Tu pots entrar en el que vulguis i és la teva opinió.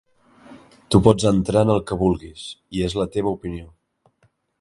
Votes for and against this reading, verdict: 3, 0, accepted